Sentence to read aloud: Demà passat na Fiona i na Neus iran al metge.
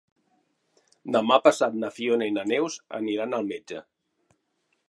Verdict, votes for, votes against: rejected, 2, 3